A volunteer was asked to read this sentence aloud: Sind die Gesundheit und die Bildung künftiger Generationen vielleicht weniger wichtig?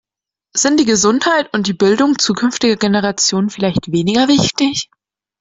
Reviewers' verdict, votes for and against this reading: accepted, 2, 1